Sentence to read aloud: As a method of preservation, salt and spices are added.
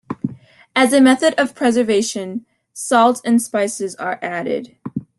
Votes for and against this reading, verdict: 2, 0, accepted